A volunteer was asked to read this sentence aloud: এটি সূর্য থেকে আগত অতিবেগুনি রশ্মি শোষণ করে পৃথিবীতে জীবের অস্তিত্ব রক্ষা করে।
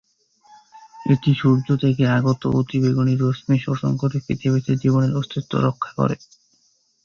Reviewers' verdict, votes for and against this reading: rejected, 0, 2